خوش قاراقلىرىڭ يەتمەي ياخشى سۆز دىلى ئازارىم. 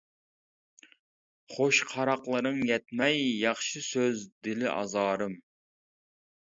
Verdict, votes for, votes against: accepted, 2, 0